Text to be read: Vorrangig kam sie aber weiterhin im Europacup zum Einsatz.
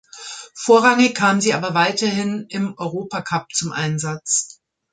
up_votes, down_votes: 2, 0